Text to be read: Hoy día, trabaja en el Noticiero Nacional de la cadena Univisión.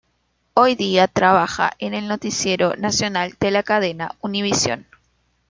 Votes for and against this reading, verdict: 2, 0, accepted